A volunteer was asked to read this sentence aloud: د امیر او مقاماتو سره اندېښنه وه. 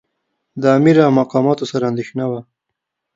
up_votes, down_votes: 2, 0